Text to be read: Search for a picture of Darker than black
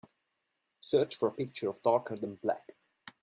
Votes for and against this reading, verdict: 4, 0, accepted